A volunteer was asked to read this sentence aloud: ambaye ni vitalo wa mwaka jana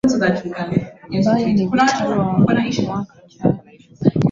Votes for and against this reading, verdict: 1, 2, rejected